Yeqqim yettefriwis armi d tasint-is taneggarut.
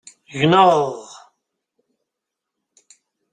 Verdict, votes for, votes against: rejected, 0, 2